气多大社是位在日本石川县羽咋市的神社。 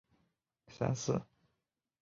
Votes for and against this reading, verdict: 4, 3, accepted